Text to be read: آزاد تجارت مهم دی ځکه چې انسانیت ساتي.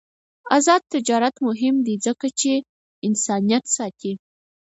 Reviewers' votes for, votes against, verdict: 4, 0, accepted